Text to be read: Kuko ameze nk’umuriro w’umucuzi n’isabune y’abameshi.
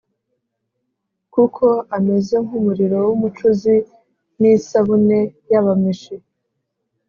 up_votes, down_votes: 3, 0